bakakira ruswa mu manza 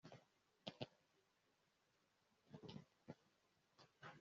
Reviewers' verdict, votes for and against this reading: rejected, 0, 2